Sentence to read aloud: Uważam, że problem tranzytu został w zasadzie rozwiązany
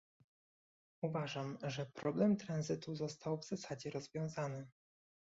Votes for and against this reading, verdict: 2, 0, accepted